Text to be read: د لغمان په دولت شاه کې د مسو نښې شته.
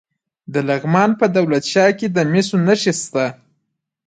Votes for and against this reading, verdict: 1, 2, rejected